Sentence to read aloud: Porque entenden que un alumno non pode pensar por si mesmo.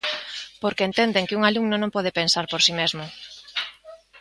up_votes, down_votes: 3, 0